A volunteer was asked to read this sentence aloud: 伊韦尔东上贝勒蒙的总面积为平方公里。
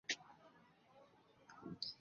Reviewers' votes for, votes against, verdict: 0, 4, rejected